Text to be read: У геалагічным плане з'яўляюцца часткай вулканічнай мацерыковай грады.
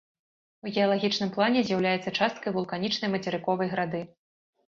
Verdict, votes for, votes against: accepted, 2, 0